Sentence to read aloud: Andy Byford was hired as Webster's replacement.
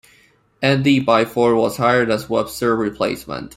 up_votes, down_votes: 2, 1